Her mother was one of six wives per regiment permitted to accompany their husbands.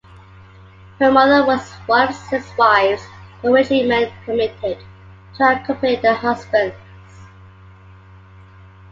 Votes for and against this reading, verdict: 2, 0, accepted